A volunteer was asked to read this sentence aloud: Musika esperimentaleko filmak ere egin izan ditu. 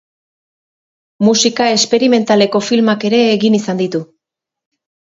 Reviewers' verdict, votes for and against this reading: accepted, 2, 0